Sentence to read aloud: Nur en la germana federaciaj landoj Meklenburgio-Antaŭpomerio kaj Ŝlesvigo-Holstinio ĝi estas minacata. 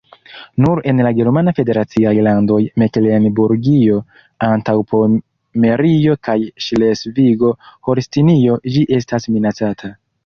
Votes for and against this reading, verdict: 2, 1, accepted